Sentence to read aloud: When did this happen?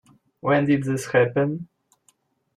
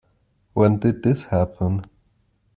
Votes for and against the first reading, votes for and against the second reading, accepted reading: 1, 2, 2, 0, second